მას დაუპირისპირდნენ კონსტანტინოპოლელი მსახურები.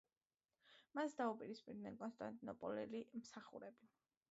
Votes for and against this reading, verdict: 2, 0, accepted